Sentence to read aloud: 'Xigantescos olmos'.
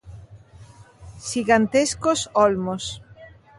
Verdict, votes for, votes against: accepted, 2, 0